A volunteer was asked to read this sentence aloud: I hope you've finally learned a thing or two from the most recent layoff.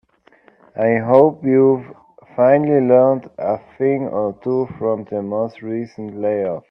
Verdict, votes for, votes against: accepted, 2, 0